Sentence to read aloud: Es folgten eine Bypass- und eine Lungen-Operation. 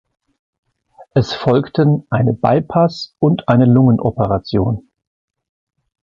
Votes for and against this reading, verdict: 2, 0, accepted